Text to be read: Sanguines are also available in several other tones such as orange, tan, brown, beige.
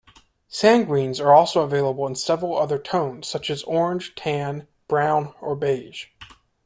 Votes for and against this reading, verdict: 0, 2, rejected